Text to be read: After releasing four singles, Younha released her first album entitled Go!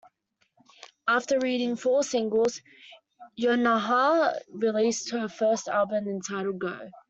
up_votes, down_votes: 0, 2